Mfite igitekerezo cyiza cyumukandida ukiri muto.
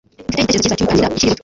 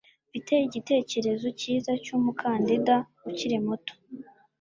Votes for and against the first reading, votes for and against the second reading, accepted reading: 1, 2, 2, 0, second